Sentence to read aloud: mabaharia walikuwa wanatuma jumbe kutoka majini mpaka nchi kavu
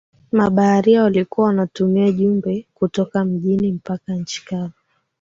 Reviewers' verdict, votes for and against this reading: accepted, 5, 4